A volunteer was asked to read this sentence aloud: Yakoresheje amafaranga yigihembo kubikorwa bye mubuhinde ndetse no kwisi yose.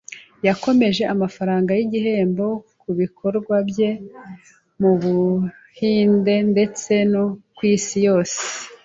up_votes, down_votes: 0, 2